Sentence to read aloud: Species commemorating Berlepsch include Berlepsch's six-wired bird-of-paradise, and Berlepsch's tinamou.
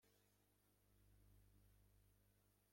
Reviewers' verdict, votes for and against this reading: rejected, 0, 2